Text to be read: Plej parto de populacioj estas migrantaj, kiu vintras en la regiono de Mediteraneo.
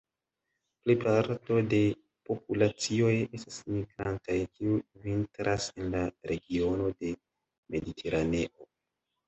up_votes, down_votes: 2, 0